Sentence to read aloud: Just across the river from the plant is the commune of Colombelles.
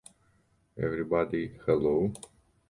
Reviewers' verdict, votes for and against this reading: rejected, 0, 2